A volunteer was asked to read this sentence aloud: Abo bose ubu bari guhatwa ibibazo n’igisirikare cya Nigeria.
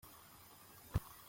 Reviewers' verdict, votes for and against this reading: rejected, 0, 2